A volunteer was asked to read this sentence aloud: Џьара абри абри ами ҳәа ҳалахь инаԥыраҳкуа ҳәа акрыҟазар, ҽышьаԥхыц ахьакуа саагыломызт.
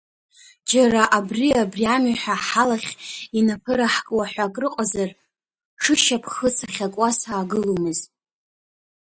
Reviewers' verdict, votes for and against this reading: rejected, 0, 2